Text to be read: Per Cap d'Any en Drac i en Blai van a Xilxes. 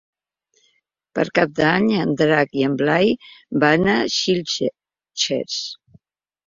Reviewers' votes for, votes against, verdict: 0, 2, rejected